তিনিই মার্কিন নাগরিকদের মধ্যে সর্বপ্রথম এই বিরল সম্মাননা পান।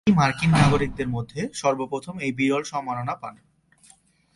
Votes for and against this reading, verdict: 1, 2, rejected